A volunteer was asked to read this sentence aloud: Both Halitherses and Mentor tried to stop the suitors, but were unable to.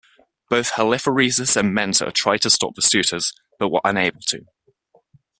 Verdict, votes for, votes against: accepted, 2, 1